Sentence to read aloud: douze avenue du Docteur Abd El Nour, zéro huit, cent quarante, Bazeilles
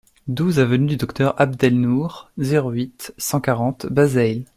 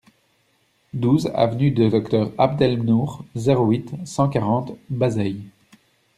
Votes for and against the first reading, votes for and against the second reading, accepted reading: 2, 0, 1, 2, first